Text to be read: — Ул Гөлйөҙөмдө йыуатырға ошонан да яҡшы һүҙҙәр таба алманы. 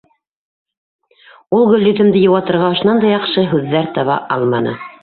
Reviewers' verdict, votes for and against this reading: accepted, 2, 1